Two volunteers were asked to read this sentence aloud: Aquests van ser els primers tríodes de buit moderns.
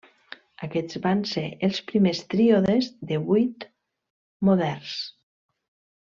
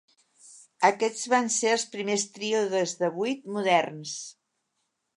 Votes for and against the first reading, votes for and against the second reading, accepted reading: 1, 2, 2, 0, second